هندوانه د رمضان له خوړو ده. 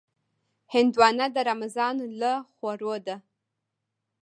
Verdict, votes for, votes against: rejected, 1, 2